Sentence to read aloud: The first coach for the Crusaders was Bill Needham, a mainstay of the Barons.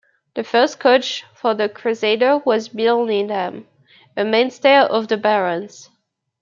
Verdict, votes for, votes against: rejected, 1, 2